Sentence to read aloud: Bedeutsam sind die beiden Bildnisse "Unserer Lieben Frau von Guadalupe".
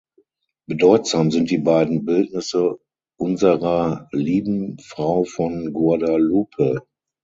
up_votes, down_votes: 3, 6